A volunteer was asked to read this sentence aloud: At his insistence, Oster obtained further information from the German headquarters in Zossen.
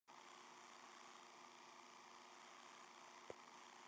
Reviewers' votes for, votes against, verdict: 0, 2, rejected